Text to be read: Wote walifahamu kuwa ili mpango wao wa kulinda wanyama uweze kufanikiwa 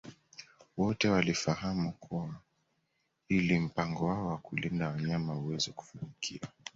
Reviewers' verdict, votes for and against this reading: accepted, 2, 0